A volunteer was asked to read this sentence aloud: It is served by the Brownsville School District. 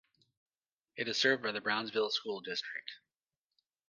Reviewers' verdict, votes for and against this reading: rejected, 1, 2